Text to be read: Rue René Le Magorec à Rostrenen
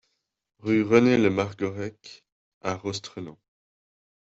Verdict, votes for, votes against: rejected, 1, 2